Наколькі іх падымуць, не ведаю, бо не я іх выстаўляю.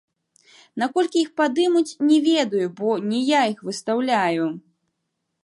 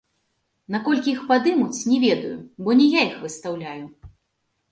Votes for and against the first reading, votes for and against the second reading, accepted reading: 1, 2, 2, 0, second